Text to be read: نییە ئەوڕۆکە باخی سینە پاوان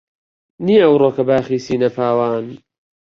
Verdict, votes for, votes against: accepted, 2, 1